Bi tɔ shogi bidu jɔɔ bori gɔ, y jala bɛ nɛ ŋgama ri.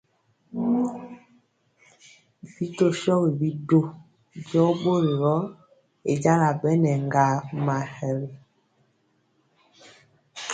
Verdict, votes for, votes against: rejected, 1, 2